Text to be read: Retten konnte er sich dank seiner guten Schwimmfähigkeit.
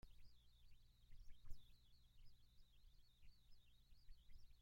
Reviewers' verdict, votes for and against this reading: rejected, 0, 2